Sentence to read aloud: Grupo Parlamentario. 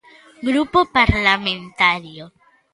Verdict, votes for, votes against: accepted, 2, 0